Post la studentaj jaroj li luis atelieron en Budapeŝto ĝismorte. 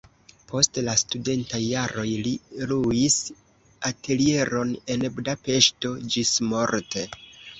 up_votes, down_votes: 2, 0